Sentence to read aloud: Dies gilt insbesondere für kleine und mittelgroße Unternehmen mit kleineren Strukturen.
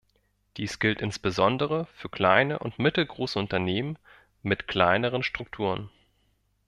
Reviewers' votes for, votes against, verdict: 2, 0, accepted